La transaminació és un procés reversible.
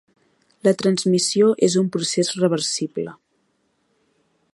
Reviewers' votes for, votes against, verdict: 1, 2, rejected